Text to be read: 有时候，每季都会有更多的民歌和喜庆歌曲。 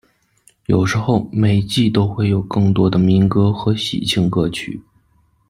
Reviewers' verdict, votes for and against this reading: accepted, 2, 0